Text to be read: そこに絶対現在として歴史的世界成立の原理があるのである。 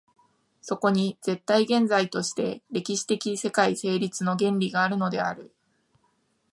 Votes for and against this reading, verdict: 3, 0, accepted